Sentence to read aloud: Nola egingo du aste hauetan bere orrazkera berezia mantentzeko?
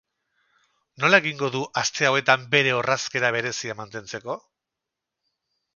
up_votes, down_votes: 4, 0